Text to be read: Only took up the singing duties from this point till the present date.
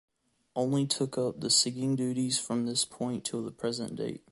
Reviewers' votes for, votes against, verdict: 2, 0, accepted